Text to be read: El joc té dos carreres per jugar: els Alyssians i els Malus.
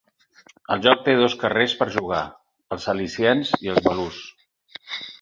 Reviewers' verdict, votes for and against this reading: rejected, 0, 4